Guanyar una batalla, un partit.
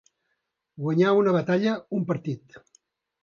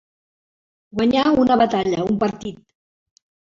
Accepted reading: first